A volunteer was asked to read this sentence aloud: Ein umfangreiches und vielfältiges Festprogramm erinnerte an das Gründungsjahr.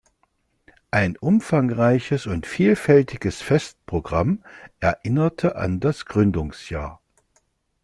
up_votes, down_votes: 2, 0